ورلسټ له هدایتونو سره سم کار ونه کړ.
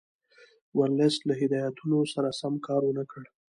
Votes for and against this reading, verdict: 1, 2, rejected